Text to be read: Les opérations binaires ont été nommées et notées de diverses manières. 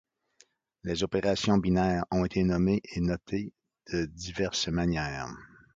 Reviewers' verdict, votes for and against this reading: accepted, 2, 0